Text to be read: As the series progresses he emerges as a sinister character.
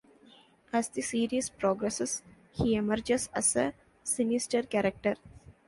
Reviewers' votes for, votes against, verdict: 2, 0, accepted